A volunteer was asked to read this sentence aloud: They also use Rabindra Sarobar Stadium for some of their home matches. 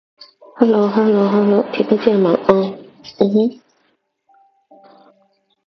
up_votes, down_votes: 0, 2